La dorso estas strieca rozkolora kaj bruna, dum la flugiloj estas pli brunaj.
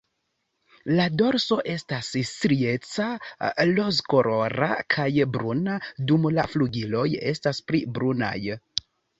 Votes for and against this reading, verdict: 2, 0, accepted